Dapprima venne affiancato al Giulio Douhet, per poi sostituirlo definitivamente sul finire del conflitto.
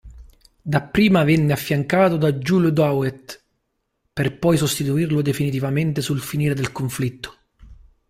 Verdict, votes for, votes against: rejected, 0, 2